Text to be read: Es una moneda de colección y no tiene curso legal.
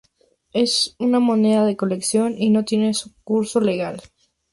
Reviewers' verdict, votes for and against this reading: rejected, 2, 2